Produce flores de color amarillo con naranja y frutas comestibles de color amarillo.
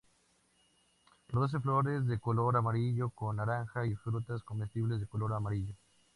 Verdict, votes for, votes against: accepted, 2, 0